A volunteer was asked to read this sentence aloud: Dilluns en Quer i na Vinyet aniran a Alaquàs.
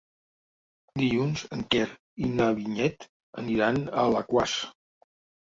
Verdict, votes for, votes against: accepted, 4, 0